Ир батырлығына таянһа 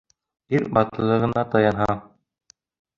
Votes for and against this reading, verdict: 1, 2, rejected